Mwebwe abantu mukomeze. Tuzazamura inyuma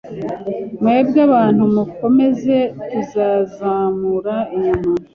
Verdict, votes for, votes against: accepted, 2, 0